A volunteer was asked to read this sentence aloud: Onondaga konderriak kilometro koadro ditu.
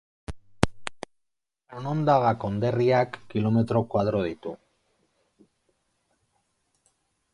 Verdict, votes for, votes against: accepted, 2, 0